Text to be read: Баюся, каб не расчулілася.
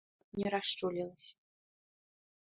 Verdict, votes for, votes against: rejected, 0, 2